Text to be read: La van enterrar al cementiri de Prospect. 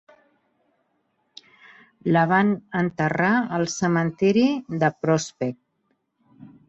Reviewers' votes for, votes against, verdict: 2, 0, accepted